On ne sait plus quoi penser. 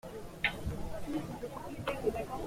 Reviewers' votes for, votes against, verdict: 0, 2, rejected